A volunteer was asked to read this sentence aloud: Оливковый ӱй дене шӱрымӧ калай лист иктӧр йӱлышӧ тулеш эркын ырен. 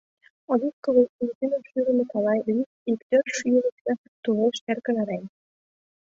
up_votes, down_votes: 1, 2